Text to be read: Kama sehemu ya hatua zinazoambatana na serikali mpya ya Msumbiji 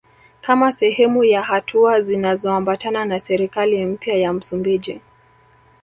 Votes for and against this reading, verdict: 3, 1, accepted